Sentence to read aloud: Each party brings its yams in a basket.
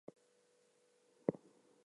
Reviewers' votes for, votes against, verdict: 0, 4, rejected